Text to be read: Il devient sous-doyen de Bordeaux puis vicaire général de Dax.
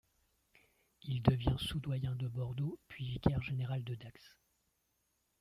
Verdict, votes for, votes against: rejected, 0, 2